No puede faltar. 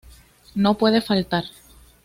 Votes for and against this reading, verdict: 2, 0, accepted